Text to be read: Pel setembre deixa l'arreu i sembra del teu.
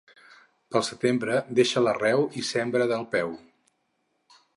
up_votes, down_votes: 2, 4